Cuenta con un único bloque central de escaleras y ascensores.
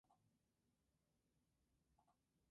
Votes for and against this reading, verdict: 0, 2, rejected